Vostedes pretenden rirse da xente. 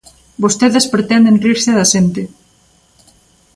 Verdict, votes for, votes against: accepted, 2, 0